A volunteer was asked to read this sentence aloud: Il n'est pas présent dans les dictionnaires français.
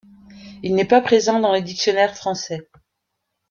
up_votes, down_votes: 2, 0